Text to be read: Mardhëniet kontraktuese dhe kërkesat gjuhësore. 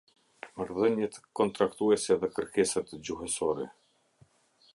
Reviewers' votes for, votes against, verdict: 2, 0, accepted